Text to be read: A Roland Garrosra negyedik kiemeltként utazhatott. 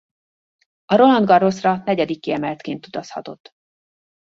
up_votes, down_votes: 2, 0